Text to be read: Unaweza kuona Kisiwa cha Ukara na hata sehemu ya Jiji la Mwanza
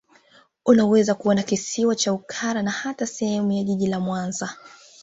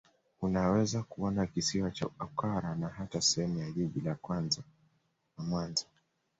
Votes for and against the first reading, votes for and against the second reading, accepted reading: 2, 0, 0, 2, first